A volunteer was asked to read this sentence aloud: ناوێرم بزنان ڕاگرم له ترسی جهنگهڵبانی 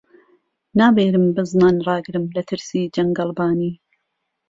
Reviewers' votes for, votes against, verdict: 2, 0, accepted